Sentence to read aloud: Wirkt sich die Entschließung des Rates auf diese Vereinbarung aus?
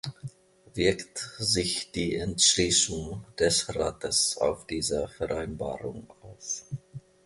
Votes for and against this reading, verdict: 1, 2, rejected